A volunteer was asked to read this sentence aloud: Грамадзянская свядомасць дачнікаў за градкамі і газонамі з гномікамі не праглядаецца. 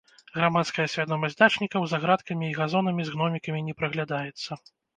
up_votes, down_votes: 0, 3